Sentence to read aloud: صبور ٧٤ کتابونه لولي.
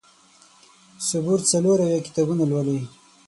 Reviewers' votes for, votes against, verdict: 0, 2, rejected